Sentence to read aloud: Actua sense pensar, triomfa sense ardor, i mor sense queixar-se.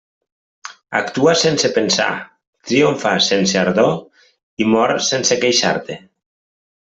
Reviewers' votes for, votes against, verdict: 0, 2, rejected